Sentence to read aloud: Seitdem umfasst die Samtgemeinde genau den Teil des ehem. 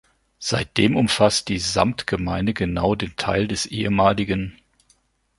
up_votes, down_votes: 1, 2